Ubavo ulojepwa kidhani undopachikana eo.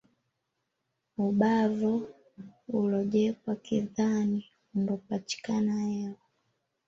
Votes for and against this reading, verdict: 0, 2, rejected